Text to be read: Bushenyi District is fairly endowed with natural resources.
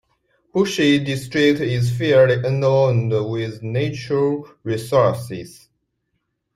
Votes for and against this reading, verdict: 0, 2, rejected